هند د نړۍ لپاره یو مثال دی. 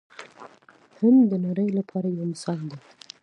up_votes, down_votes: 2, 0